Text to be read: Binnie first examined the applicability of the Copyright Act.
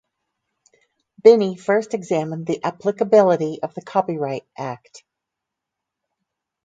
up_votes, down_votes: 2, 4